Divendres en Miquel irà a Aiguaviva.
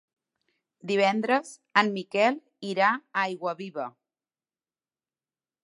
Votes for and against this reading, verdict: 3, 0, accepted